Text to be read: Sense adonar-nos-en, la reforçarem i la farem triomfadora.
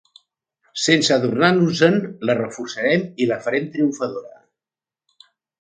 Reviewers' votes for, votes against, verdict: 2, 0, accepted